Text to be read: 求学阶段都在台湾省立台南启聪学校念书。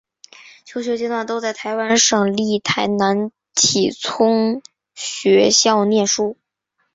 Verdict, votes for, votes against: accepted, 2, 1